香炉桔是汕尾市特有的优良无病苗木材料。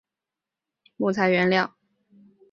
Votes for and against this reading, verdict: 1, 2, rejected